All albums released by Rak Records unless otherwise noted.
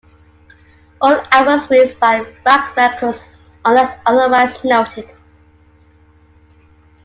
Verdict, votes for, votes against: accepted, 2, 1